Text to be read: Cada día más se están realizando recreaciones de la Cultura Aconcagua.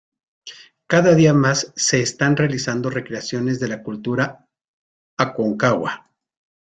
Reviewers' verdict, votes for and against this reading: accepted, 2, 0